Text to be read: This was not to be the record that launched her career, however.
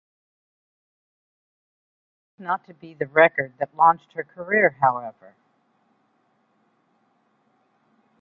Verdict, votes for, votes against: rejected, 0, 2